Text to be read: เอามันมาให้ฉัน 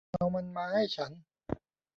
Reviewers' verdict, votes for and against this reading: accepted, 2, 1